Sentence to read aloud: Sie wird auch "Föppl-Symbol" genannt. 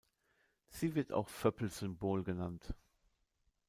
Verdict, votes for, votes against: accepted, 2, 0